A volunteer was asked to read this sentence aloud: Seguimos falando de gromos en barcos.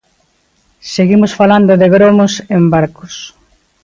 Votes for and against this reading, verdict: 2, 0, accepted